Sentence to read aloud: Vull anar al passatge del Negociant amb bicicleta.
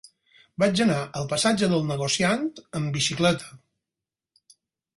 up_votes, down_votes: 0, 4